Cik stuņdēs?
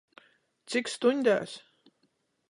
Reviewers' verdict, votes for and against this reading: accepted, 14, 0